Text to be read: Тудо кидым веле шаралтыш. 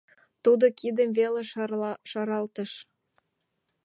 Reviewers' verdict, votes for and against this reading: rejected, 1, 2